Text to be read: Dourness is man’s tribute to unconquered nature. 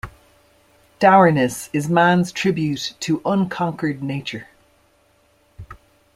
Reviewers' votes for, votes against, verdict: 2, 0, accepted